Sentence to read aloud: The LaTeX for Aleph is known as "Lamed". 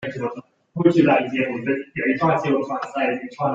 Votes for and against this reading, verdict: 0, 2, rejected